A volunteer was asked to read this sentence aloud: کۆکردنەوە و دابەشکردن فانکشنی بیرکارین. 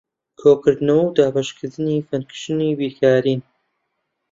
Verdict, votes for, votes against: rejected, 1, 2